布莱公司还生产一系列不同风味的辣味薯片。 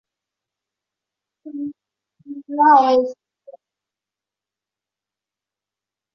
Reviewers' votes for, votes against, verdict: 0, 2, rejected